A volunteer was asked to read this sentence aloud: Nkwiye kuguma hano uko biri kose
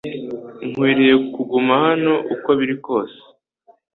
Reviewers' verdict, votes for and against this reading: accepted, 2, 0